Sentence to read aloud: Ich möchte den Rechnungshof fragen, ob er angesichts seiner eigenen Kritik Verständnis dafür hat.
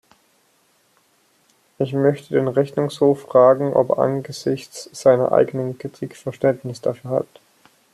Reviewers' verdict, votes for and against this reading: accepted, 2, 0